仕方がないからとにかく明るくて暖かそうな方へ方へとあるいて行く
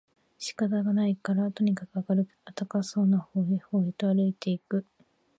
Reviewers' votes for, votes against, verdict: 0, 2, rejected